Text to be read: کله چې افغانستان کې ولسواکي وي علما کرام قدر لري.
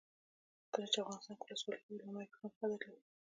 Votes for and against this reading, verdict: 0, 2, rejected